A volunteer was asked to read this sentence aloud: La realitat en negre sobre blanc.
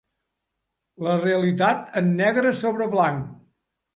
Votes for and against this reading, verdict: 3, 0, accepted